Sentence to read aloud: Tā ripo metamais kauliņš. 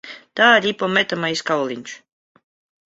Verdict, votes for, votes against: rejected, 0, 2